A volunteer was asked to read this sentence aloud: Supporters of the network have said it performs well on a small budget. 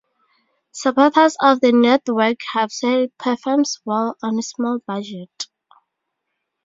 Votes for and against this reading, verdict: 0, 4, rejected